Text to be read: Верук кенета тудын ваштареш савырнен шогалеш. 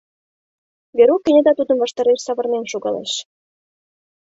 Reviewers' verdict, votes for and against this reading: rejected, 1, 2